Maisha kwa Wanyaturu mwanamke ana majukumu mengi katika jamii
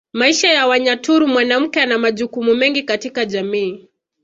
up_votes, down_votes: 2, 1